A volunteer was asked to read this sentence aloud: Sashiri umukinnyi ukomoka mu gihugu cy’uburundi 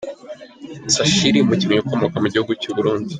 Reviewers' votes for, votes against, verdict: 2, 1, accepted